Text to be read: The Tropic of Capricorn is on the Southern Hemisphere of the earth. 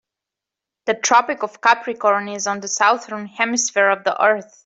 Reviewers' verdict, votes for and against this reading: accepted, 3, 0